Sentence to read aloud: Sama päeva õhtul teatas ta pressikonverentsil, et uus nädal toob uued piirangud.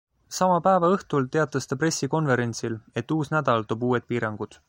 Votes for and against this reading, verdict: 2, 0, accepted